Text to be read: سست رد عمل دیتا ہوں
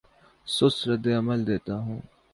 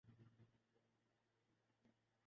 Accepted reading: first